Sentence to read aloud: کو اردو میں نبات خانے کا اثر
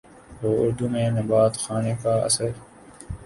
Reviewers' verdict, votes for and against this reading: accepted, 5, 3